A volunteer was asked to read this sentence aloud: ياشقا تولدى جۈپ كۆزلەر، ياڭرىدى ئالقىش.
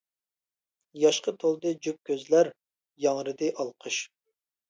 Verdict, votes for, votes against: accepted, 2, 0